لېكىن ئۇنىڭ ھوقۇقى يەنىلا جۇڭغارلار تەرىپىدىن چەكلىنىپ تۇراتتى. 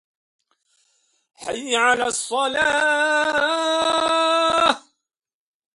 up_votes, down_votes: 0, 2